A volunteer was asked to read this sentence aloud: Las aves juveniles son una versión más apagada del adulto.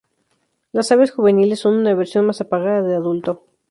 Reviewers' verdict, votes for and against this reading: rejected, 0, 2